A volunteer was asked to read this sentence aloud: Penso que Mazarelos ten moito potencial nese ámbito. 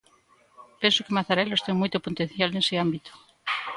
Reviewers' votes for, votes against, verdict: 2, 0, accepted